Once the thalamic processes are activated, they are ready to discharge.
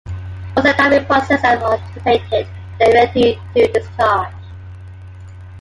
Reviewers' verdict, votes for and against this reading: rejected, 0, 2